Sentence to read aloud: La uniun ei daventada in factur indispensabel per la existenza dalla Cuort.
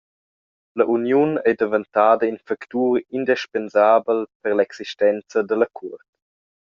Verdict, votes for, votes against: rejected, 0, 2